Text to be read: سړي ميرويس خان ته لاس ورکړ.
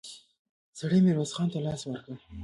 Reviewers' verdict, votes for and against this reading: rejected, 1, 2